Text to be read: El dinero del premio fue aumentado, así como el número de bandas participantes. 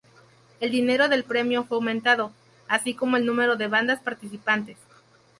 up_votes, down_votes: 2, 2